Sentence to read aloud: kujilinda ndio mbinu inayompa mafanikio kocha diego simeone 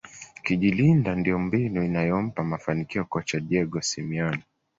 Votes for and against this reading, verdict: 2, 0, accepted